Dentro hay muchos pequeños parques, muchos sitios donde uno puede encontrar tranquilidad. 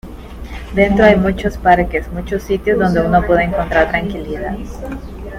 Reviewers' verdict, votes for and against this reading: accepted, 2, 1